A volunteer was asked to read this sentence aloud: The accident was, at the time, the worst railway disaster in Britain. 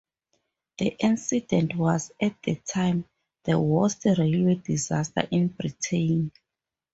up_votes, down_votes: 2, 2